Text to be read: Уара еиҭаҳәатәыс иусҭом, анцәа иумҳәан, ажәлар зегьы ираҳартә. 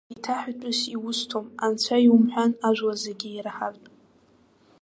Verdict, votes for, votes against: rejected, 0, 2